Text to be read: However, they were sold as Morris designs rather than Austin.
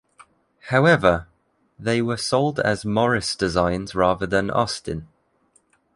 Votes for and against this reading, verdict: 2, 0, accepted